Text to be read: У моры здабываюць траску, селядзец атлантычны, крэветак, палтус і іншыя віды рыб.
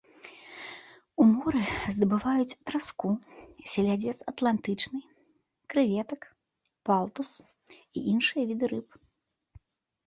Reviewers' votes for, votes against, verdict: 2, 0, accepted